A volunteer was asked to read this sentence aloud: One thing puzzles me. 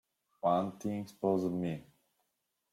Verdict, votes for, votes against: rejected, 0, 2